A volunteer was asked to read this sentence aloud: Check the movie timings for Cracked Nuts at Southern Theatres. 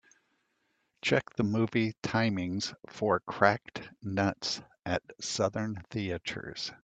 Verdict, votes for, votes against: accepted, 2, 0